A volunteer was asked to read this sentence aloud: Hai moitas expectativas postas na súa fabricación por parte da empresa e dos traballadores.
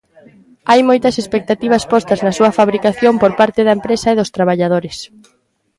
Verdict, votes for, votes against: accepted, 2, 0